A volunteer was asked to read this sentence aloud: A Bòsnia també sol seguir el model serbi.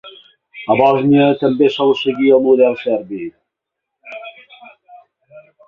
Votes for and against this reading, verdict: 2, 0, accepted